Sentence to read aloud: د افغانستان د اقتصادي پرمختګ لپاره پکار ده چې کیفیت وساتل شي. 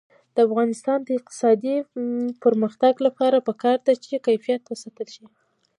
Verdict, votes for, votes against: accepted, 2, 1